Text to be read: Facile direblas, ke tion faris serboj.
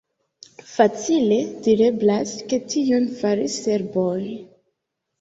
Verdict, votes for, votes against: accepted, 2, 1